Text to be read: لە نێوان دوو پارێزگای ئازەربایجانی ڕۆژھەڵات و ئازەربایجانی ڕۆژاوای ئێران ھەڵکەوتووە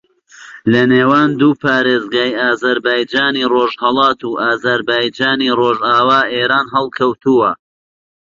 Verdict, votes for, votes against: accepted, 2, 1